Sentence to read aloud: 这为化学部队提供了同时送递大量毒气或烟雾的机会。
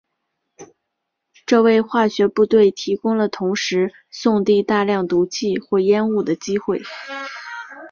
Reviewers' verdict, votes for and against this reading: accepted, 2, 0